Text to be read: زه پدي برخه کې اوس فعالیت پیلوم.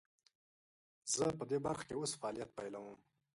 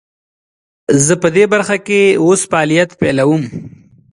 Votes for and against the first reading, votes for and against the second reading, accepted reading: 0, 2, 2, 0, second